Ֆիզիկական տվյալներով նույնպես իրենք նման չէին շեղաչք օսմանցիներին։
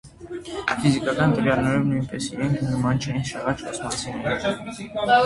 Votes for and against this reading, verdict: 0, 2, rejected